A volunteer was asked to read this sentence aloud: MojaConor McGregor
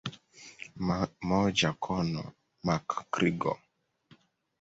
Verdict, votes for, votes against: accepted, 2, 0